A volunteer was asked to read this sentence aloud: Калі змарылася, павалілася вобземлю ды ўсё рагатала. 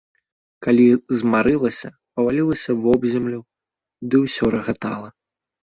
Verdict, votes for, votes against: accepted, 2, 0